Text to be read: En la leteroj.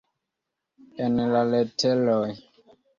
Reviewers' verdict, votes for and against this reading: accepted, 2, 0